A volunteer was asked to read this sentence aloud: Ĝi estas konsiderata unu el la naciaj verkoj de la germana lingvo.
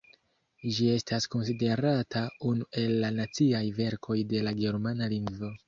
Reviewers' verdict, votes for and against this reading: rejected, 0, 2